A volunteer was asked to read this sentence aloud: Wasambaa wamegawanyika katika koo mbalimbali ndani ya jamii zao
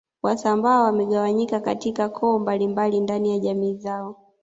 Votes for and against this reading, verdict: 2, 1, accepted